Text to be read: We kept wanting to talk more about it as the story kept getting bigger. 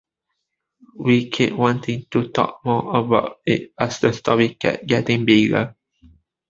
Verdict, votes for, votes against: rejected, 0, 2